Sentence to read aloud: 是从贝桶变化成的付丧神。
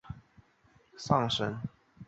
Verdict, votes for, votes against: rejected, 0, 2